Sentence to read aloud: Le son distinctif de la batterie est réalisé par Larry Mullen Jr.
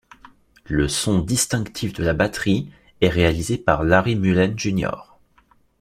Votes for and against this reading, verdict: 2, 0, accepted